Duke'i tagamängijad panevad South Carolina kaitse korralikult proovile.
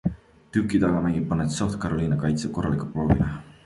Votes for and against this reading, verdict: 3, 0, accepted